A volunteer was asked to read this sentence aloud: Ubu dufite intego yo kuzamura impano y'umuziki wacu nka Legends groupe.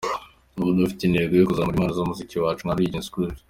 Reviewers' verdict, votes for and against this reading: accepted, 2, 1